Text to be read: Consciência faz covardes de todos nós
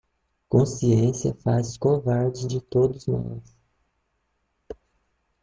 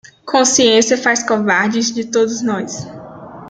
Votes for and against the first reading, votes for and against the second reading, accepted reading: 1, 2, 2, 0, second